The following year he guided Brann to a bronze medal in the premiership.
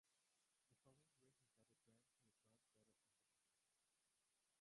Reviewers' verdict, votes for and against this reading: rejected, 0, 2